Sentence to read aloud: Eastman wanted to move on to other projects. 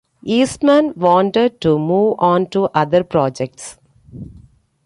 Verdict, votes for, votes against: accepted, 2, 0